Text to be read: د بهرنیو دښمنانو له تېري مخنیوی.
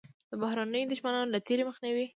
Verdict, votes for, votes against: rejected, 1, 2